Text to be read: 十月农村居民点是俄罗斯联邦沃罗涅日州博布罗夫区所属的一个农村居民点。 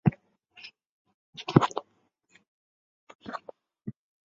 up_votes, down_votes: 0, 2